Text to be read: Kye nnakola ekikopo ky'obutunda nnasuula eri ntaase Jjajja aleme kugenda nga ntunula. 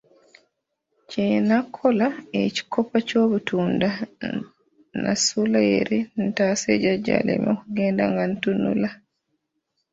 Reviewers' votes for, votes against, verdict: 0, 2, rejected